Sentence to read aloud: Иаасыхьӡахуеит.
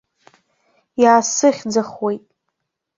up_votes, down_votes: 1, 2